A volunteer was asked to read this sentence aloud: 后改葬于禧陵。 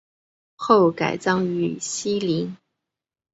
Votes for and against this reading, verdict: 3, 0, accepted